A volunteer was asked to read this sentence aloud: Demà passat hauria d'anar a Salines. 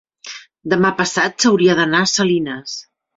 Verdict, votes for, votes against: rejected, 3, 4